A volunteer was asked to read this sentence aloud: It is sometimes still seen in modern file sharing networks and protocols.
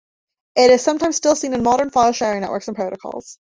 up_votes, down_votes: 2, 1